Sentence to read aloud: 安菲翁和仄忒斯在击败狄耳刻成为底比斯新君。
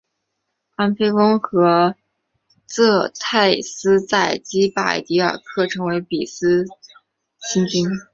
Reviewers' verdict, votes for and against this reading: rejected, 0, 3